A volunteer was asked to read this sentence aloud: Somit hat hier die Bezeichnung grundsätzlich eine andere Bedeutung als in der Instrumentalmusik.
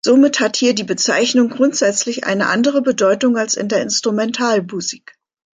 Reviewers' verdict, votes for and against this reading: accepted, 2, 1